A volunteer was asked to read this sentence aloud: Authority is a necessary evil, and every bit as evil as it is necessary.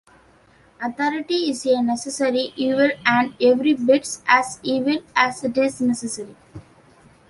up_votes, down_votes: 2, 1